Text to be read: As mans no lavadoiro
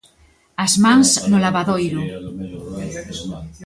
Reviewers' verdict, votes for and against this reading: rejected, 1, 2